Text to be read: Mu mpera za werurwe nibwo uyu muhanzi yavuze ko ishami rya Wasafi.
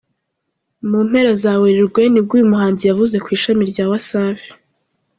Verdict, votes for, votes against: accepted, 3, 0